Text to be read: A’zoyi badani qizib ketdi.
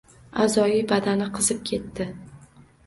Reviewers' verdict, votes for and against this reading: accepted, 2, 0